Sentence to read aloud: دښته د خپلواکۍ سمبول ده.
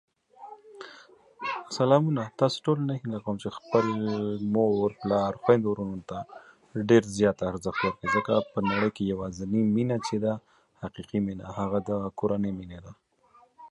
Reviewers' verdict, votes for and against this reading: rejected, 0, 2